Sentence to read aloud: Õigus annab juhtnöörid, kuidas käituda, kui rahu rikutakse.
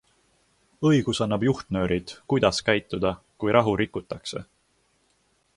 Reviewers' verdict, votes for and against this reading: accepted, 2, 0